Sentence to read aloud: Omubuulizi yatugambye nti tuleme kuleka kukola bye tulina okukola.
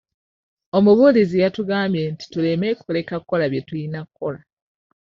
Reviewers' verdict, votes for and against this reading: rejected, 0, 2